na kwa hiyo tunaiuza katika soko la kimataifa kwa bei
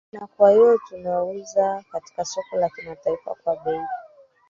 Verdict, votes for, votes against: rejected, 1, 3